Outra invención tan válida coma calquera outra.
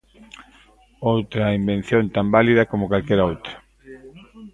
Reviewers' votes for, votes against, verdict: 1, 2, rejected